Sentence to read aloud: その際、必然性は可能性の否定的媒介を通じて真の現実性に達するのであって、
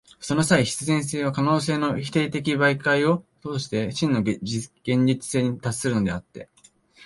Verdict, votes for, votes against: rejected, 0, 2